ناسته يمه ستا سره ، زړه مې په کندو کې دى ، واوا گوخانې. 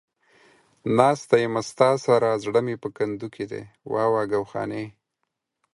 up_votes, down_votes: 4, 0